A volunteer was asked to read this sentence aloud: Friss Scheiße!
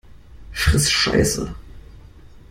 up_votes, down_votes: 2, 0